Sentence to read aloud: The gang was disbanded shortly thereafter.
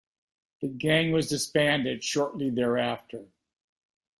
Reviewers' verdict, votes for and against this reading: accepted, 2, 0